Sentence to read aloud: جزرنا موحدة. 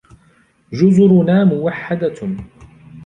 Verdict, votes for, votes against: accepted, 2, 0